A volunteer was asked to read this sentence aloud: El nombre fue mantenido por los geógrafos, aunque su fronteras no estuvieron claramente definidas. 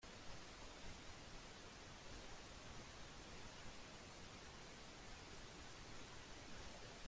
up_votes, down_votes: 0, 2